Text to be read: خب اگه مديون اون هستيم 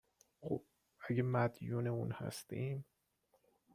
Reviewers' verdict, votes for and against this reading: accepted, 2, 0